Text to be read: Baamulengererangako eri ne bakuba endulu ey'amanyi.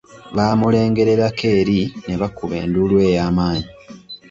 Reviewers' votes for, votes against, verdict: 2, 0, accepted